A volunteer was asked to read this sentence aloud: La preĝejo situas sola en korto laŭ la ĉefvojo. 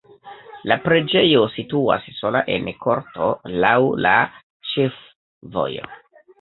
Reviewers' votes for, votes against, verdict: 2, 1, accepted